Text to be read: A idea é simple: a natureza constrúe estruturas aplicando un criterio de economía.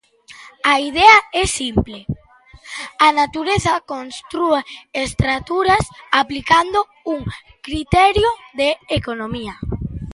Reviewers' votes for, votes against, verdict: 0, 2, rejected